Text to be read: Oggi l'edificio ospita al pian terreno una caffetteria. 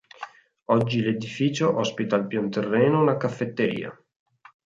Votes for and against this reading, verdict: 6, 0, accepted